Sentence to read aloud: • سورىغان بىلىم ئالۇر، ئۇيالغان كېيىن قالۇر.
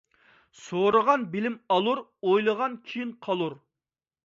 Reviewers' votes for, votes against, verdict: 0, 2, rejected